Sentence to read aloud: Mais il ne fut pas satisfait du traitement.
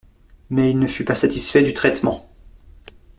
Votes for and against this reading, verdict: 2, 0, accepted